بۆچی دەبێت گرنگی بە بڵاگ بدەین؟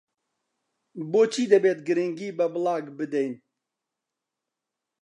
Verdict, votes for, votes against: accepted, 2, 0